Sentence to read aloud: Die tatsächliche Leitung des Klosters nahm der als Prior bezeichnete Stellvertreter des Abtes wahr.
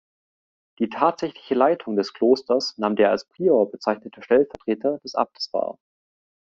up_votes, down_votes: 2, 0